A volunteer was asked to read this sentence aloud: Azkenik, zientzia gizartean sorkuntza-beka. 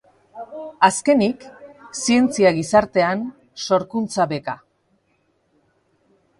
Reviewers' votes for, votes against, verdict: 0, 2, rejected